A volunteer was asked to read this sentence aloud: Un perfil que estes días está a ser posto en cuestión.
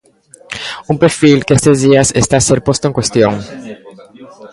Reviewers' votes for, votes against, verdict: 2, 1, accepted